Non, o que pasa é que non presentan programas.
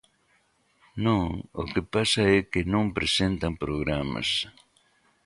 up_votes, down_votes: 2, 0